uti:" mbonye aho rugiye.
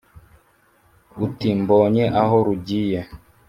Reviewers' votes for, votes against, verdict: 3, 0, accepted